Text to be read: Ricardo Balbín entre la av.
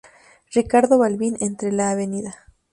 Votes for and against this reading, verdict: 2, 0, accepted